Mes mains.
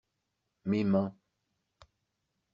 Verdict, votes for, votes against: accepted, 2, 1